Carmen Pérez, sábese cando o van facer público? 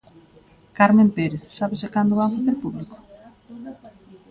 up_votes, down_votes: 0, 2